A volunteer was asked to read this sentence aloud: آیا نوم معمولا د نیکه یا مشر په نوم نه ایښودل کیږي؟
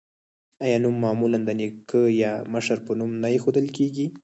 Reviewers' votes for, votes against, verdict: 4, 0, accepted